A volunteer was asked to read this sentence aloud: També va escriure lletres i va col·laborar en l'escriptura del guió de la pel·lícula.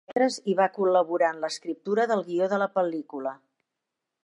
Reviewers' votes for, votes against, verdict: 0, 4, rejected